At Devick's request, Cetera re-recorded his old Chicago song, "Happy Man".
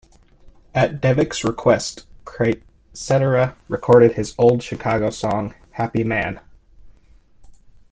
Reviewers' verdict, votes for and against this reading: rejected, 1, 2